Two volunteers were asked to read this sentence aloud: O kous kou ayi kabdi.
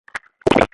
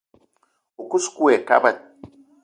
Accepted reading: second